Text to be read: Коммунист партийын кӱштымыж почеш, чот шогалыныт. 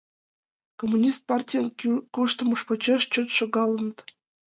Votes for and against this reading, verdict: 0, 2, rejected